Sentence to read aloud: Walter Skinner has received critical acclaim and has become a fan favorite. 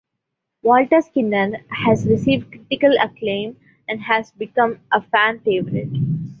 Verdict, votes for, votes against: accepted, 2, 0